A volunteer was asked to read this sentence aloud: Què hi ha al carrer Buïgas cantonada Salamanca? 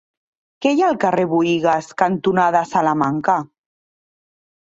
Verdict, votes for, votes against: accepted, 2, 1